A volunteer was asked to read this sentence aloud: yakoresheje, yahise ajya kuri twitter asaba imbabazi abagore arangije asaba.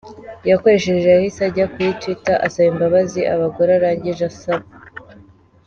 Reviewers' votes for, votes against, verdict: 2, 0, accepted